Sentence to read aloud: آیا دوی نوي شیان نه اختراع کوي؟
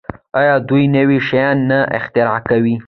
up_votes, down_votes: 2, 0